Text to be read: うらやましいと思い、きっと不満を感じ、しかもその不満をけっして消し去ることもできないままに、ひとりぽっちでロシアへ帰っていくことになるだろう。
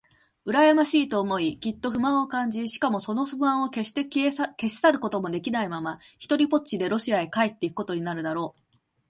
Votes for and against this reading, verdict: 2, 0, accepted